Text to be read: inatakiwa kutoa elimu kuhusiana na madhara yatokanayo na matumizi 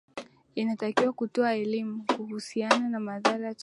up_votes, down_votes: 1, 5